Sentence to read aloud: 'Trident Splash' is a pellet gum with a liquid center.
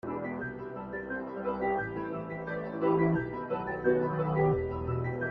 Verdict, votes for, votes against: rejected, 0, 2